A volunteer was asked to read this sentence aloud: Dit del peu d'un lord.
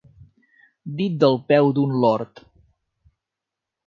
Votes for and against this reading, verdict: 3, 0, accepted